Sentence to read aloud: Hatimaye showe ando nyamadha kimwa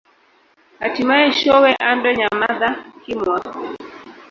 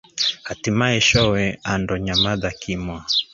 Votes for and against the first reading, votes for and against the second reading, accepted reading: 1, 2, 2, 0, second